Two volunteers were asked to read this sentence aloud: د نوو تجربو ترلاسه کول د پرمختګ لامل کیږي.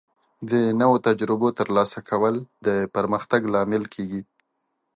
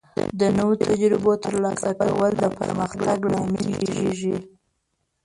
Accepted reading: first